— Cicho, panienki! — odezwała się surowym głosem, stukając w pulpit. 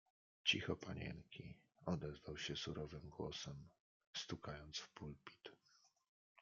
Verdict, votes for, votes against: rejected, 1, 2